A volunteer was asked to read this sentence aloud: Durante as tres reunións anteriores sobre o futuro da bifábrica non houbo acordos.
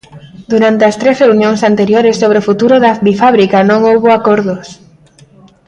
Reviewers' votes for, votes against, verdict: 2, 0, accepted